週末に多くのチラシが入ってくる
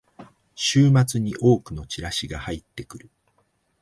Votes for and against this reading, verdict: 2, 0, accepted